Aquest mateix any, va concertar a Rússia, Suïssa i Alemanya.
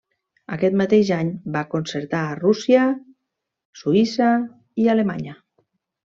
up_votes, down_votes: 3, 0